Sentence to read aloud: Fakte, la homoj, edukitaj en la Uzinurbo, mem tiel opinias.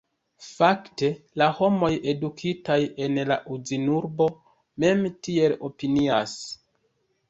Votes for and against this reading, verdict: 1, 2, rejected